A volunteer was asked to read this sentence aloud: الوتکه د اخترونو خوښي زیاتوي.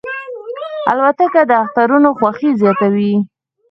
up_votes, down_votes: 2, 4